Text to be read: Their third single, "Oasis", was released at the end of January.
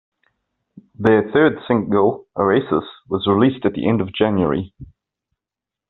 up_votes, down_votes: 2, 0